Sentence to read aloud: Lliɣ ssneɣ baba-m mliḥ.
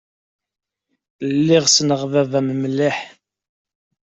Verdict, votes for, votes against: accepted, 2, 0